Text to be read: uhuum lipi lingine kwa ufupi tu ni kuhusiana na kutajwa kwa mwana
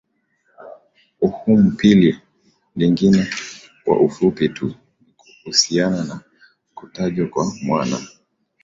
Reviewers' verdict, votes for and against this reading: accepted, 3, 0